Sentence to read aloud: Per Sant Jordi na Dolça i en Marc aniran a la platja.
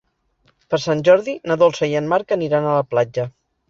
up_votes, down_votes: 3, 0